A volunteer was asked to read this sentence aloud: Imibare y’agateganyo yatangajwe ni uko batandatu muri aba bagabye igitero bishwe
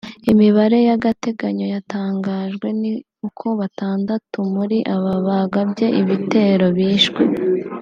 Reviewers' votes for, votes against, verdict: 1, 2, rejected